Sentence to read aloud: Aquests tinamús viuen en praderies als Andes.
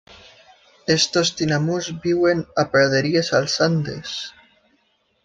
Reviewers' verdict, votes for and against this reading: rejected, 0, 2